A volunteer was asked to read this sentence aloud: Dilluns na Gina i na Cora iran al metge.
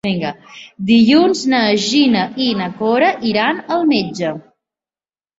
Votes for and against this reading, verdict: 0, 2, rejected